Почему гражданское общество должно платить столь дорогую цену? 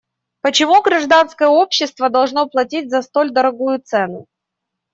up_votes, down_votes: 0, 2